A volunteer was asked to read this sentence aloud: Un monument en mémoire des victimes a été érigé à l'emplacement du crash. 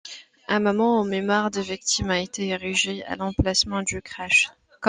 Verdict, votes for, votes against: rejected, 1, 2